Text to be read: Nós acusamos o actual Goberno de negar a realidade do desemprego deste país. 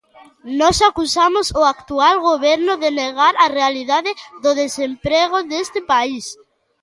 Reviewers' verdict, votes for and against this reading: accepted, 2, 1